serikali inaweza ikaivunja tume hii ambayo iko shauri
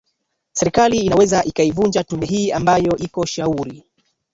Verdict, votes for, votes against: accepted, 2, 1